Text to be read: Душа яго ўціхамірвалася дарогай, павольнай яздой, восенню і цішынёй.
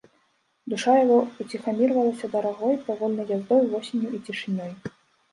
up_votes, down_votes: 1, 3